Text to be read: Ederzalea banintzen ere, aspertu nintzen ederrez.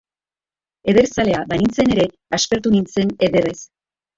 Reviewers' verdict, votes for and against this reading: accepted, 2, 1